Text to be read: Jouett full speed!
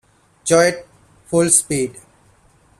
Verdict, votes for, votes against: accepted, 2, 1